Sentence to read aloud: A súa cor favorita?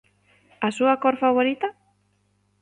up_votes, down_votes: 2, 0